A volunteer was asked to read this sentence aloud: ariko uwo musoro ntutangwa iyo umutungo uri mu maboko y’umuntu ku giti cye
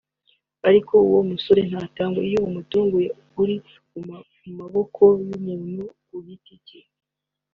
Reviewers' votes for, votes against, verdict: 0, 2, rejected